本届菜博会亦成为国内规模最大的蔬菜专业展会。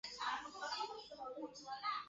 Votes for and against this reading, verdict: 0, 2, rejected